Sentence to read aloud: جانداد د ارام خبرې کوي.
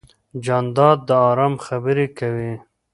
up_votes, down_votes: 2, 0